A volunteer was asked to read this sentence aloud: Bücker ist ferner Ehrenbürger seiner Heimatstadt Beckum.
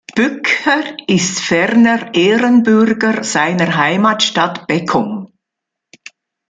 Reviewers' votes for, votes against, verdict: 2, 0, accepted